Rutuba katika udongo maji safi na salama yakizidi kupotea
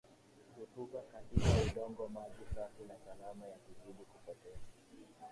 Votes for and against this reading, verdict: 4, 6, rejected